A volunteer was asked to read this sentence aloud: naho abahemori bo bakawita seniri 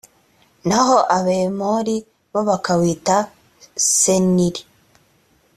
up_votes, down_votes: 2, 0